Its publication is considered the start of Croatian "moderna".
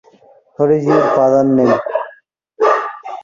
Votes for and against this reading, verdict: 0, 2, rejected